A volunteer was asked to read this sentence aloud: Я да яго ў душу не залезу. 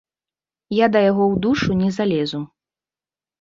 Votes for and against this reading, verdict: 2, 0, accepted